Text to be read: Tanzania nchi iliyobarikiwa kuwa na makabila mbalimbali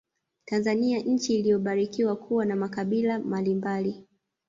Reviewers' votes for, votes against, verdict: 0, 2, rejected